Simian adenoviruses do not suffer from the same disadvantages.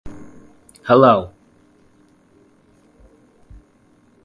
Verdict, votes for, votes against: rejected, 0, 2